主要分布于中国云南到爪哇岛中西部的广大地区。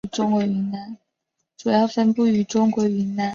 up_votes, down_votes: 0, 2